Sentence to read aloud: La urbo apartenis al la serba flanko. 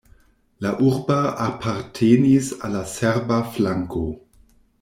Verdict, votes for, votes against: rejected, 1, 2